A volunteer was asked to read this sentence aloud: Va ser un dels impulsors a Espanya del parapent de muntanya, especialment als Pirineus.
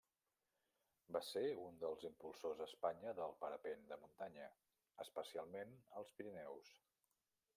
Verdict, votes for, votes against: rejected, 0, 2